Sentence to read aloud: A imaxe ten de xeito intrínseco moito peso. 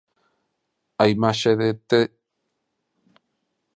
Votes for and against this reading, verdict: 0, 2, rejected